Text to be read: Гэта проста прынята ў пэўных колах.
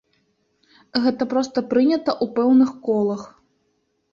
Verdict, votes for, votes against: accepted, 2, 0